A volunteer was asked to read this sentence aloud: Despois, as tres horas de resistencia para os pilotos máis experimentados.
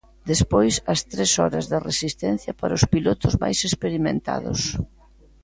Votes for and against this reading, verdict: 2, 1, accepted